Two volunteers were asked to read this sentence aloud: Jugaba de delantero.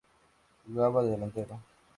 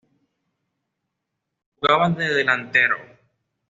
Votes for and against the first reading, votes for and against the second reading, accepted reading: 2, 0, 1, 2, first